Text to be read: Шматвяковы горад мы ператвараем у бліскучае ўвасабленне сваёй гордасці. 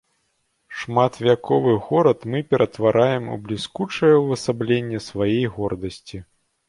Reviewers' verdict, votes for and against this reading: rejected, 0, 2